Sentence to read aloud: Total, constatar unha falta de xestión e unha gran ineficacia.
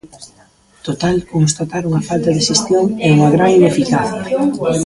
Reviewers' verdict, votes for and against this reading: rejected, 0, 2